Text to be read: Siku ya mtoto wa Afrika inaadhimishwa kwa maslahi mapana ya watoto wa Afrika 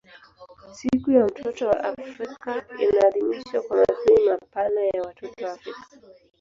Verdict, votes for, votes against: rejected, 1, 2